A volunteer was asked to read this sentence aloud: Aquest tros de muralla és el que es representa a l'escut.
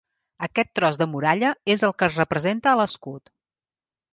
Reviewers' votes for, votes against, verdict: 2, 0, accepted